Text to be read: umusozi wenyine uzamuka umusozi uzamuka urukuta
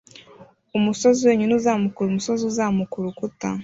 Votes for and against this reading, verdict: 2, 0, accepted